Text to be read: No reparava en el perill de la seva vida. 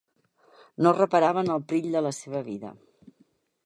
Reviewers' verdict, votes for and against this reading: accepted, 2, 1